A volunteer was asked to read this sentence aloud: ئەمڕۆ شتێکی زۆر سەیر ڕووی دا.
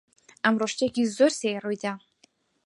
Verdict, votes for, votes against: accepted, 4, 0